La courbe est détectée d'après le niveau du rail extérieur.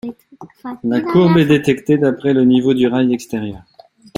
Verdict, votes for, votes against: rejected, 0, 2